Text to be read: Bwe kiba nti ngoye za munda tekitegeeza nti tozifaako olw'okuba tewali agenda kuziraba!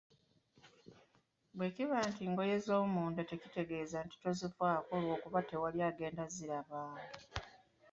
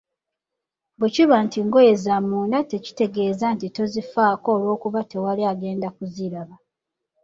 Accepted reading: second